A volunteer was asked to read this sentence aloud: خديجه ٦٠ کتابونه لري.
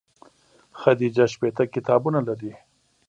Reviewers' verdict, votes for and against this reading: rejected, 0, 2